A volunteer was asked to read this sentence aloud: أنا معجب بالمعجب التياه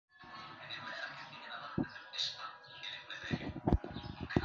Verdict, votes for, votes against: rejected, 0, 2